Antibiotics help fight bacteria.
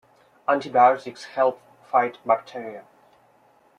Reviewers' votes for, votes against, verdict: 2, 0, accepted